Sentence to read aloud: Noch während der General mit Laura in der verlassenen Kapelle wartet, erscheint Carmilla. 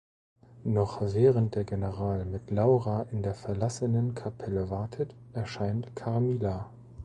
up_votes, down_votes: 2, 0